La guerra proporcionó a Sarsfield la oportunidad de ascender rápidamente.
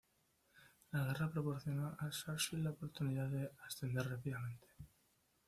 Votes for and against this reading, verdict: 1, 2, rejected